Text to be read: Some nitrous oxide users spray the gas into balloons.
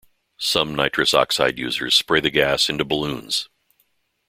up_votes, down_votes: 2, 0